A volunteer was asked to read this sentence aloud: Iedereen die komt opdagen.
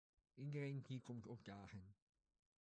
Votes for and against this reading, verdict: 1, 2, rejected